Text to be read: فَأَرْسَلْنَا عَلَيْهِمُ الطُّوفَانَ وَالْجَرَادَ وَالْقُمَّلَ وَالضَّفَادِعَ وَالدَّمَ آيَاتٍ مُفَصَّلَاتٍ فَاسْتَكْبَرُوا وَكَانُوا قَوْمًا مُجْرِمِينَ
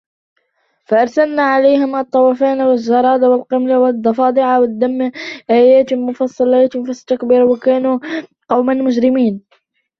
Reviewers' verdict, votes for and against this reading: rejected, 0, 2